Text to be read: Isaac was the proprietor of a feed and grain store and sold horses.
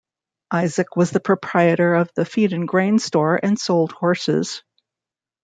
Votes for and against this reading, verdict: 1, 2, rejected